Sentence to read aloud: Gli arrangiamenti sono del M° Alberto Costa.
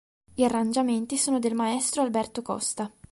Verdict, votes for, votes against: rejected, 1, 2